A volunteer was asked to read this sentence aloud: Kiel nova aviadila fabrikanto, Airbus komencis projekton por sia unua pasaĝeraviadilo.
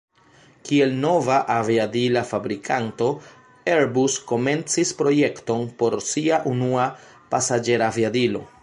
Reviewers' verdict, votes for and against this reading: rejected, 1, 2